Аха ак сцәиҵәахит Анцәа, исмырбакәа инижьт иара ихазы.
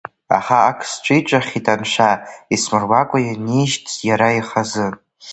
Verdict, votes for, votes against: accepted, 2, 0